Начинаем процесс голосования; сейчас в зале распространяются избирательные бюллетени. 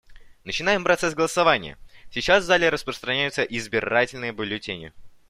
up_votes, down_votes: 1, 2